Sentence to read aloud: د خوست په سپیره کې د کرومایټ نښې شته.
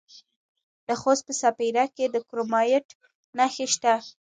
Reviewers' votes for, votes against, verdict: 1, 2, rejected